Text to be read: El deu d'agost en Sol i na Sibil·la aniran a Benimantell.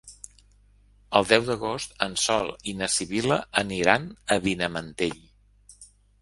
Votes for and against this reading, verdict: 1, 2, rejected